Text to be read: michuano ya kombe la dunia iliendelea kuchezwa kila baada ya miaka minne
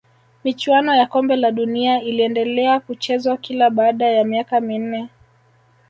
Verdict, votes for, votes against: accepted, 2, 0